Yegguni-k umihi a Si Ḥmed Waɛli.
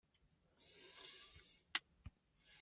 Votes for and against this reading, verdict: 0, 2, rejected